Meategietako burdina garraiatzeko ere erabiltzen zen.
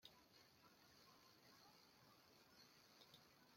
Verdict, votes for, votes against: rejected, 0, 2